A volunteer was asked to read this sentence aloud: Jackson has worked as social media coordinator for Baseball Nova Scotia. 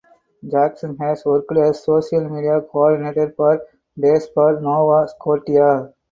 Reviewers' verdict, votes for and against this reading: rejected, 0, 4